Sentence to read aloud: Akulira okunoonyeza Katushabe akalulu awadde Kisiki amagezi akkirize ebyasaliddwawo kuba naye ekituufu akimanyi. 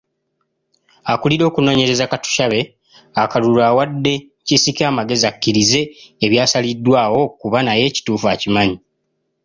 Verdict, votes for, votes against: accepted, 2, 0